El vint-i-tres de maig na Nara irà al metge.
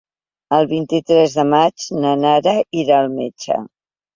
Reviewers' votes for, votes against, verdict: 3, 0, accepted